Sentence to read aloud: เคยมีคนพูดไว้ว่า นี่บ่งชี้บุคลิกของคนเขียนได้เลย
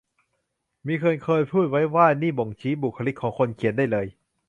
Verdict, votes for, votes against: rejected, 1, 2